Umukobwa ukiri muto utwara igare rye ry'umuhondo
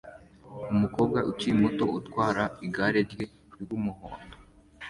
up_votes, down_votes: 2, 1